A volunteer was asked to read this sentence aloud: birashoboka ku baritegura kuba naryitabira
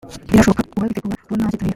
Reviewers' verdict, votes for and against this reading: rejected, 0, 2